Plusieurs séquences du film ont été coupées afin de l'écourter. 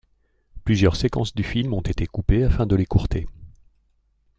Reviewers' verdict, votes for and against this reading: accepted, 2, 1